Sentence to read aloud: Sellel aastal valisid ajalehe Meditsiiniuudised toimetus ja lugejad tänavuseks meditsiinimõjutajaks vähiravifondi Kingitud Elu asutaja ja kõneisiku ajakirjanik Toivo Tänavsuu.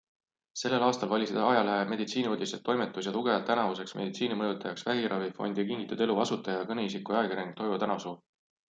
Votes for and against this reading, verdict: 2, 0, accepted